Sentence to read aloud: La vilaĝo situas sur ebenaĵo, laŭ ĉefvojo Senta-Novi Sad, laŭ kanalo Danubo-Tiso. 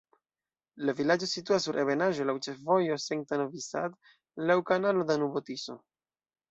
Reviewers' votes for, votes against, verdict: 2, 0, accepted